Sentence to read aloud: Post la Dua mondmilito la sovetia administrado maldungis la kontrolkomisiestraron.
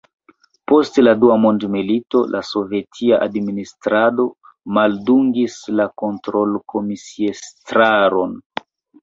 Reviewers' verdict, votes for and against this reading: accepted, 2, 1